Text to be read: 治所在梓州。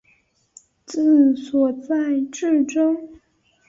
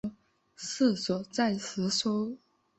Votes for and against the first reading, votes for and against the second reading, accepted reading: 2, 3, 2, 0, second